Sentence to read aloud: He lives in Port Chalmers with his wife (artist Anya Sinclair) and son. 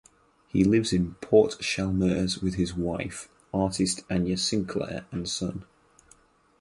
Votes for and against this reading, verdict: 4, 0, accepted